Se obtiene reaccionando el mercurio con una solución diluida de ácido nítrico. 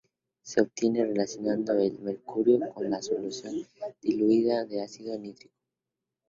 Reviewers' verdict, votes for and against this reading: accepted, 2, 0